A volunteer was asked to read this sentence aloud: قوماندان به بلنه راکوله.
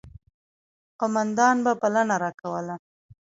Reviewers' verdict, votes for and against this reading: accepted, 2, 1